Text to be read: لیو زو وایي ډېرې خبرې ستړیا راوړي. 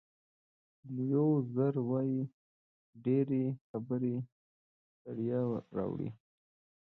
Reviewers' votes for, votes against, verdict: 2, 0, accepted